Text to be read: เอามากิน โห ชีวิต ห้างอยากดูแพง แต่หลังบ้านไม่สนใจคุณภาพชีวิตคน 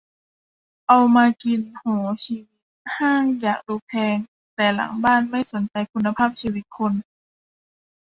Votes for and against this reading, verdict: 1, 2, rejected